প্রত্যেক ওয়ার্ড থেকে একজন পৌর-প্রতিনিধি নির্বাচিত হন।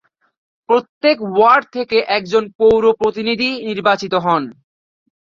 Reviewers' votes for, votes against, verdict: 2, 0, accepted